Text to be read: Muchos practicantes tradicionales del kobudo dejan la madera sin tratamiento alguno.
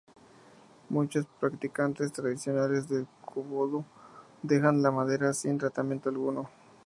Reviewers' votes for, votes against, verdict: 0, 2, rejected